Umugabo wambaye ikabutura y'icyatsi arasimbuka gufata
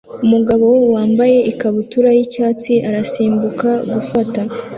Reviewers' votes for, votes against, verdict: 2, 0, accepted